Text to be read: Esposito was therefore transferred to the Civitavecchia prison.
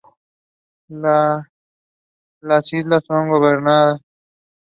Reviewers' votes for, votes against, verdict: 0, 2, rejected